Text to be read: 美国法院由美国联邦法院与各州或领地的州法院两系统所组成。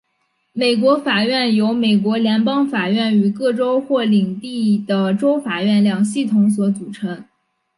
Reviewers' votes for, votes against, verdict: 2, 0, accepted